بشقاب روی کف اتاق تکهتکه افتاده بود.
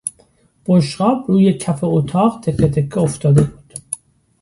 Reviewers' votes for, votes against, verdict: 2, 0, accepted